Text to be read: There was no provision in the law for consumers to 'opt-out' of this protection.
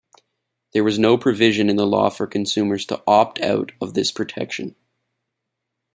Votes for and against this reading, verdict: 2, 0, accepted